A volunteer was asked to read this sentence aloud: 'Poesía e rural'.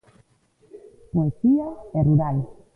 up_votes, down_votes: 2, 0